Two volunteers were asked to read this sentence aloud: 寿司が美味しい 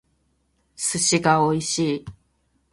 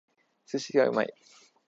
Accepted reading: first